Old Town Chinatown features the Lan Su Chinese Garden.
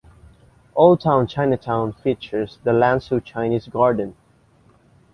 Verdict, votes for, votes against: accepted, 2, 1